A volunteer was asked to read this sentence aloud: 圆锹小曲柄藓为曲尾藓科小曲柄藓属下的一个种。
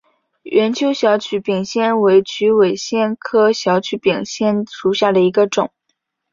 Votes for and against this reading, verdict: 2, 0, accepted